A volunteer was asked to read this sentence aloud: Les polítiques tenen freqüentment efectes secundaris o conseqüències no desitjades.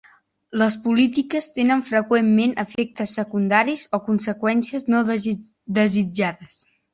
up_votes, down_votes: 1, 2